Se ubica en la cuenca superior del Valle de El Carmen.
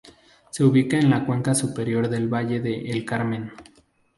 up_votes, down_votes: 2, 0